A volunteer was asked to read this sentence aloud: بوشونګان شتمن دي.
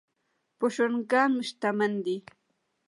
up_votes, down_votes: 1, 2